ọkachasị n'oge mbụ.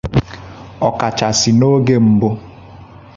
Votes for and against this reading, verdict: 2, 0, accepted